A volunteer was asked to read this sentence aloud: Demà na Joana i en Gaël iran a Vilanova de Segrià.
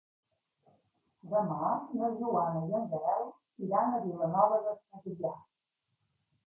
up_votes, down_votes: 1, 2